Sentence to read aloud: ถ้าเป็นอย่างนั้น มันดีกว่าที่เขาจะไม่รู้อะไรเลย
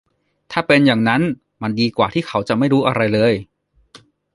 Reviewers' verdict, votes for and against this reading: accepted, 2, 0